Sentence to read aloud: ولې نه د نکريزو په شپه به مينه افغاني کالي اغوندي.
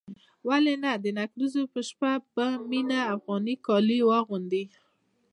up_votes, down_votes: 2, 1